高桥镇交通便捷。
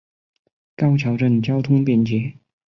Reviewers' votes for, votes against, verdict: 4, 0, accepted